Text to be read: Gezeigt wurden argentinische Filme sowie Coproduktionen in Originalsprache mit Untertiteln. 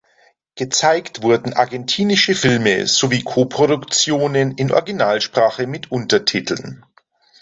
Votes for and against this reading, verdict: 2, 0, accepted